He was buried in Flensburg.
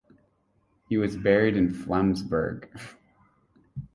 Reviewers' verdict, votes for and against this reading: accepted, 6, 0